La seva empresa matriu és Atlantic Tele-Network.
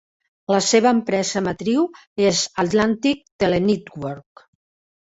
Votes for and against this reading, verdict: 2, 1, accepted